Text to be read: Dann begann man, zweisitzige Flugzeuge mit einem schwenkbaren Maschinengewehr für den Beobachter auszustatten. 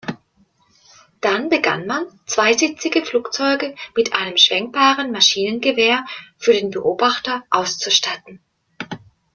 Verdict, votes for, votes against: accepted, 2, 0